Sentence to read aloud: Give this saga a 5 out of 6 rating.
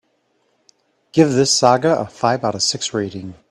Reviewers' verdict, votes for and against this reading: rejected, 0, 2